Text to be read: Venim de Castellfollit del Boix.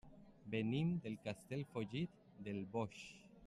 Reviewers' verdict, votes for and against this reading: rejected, 1, 2